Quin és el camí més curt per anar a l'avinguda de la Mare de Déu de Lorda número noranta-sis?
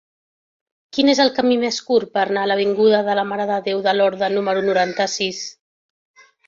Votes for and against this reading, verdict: 0, 2, rejected